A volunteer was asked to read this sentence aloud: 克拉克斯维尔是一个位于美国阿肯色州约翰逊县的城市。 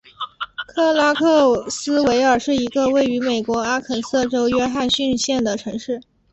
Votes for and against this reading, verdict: 2, 1, accepted